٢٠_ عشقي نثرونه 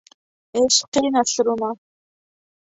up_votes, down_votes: 0, 2